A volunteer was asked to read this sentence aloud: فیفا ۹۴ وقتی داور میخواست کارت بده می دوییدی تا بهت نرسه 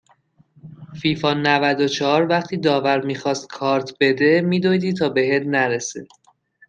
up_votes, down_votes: 0, 2